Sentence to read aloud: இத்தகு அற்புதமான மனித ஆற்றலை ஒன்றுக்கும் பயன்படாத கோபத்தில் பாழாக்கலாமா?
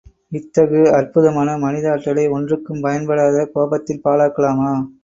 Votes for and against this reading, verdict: 2, 0, accepted